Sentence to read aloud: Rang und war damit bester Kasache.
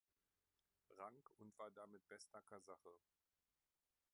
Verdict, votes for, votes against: rejected, 0, 2